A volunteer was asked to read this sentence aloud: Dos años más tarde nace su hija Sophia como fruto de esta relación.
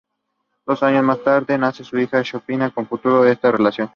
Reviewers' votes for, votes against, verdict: 0, 2, rejected